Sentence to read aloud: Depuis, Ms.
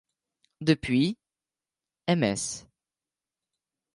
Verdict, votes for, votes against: rejected, 1, 2